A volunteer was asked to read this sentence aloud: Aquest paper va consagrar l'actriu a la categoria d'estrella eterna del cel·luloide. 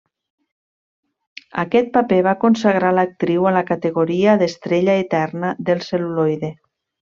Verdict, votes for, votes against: accepted, 2, 0